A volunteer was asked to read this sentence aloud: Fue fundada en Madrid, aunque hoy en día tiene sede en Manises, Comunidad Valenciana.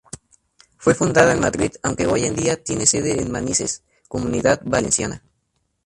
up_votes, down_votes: 0, 6